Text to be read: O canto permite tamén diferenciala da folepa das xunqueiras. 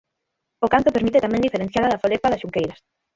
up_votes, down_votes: 3, 6